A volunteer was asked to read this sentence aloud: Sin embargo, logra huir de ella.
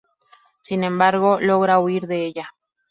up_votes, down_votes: 2, 0